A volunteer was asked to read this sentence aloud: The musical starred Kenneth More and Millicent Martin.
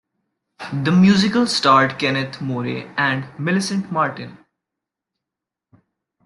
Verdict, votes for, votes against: rejected, 0, 2